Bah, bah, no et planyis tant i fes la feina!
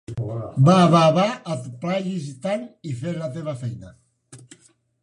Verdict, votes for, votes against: rejected, 0, 2